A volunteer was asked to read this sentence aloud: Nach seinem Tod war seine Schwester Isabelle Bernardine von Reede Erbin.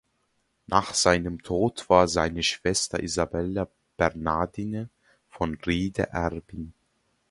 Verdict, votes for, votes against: rejected, 1, 2